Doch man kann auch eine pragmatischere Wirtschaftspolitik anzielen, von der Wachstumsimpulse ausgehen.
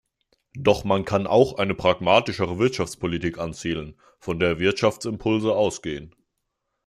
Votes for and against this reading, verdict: 0, 2, rejected